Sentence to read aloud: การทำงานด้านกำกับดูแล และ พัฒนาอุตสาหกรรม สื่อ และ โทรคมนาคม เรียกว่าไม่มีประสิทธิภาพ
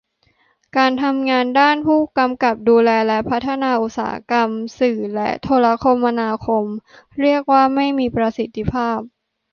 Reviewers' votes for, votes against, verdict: 0, 2, rejected